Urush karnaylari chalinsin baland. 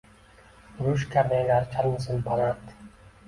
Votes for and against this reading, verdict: 2, 0, accepted